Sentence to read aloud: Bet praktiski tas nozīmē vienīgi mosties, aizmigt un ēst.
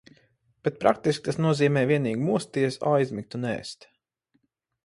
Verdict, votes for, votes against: accepted, 4, 0